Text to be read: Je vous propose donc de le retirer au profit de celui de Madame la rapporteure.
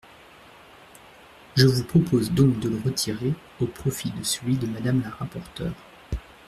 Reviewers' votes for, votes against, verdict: 2, 0, accepted